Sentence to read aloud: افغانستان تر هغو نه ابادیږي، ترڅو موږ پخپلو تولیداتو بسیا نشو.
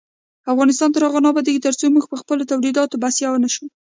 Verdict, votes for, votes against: accepted, 2, 0